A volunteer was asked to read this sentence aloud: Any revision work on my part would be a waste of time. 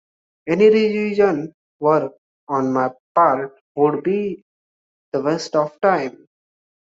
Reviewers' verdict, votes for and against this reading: accepted, 2, 1